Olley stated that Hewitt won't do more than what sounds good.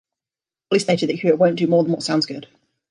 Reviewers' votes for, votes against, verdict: 0, 2, rejected